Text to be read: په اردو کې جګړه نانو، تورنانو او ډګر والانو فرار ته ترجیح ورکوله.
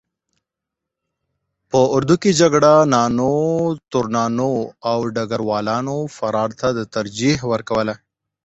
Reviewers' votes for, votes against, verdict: 0, 14, rejected